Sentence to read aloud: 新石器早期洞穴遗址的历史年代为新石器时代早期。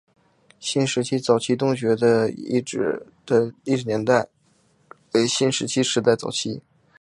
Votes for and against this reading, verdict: 2, 0, accepted